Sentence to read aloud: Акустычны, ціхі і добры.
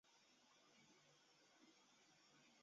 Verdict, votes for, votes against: rejected, 0, 2